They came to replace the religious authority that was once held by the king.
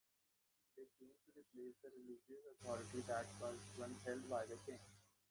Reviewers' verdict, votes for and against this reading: rejected, 0, 2